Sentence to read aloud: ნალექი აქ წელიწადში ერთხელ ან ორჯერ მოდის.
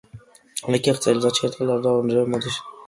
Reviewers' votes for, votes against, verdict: 1, 2, rejected